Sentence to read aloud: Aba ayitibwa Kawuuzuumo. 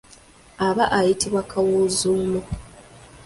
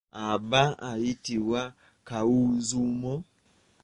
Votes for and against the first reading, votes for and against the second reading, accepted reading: 2, 0, 0, 2, first